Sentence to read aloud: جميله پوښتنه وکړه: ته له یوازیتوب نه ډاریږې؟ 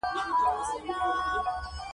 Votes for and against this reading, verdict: 2, 1, accepted